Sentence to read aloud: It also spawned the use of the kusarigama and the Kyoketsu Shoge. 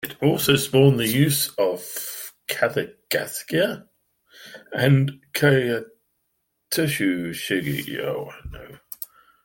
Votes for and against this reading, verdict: 0, 2, rejected